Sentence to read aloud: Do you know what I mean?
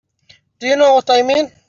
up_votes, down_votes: 2, 3